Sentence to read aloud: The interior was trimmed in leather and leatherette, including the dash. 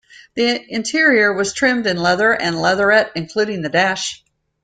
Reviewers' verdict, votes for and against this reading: accepted, 2, 0